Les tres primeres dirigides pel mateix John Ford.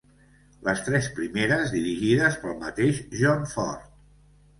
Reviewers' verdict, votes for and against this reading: accepted, 2, 0